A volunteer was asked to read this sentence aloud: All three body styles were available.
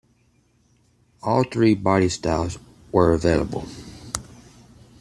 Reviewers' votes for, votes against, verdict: 2, 0, accepted